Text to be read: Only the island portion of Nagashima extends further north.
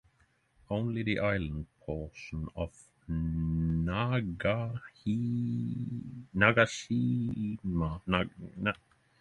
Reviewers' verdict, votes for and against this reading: rejected, 0, 3